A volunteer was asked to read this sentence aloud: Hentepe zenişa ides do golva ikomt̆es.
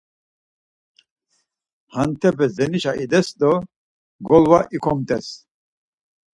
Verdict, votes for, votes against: accepted, 4, 0